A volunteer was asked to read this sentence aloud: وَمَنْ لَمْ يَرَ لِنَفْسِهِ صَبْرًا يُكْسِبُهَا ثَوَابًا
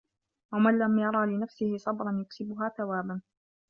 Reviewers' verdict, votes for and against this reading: accepted, 2, 0